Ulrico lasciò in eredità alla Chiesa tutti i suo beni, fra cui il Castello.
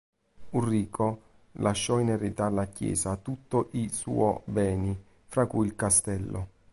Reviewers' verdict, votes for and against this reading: rejected, 0, 2